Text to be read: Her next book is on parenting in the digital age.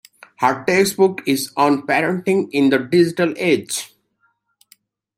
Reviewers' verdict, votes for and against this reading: accepted, 2, 0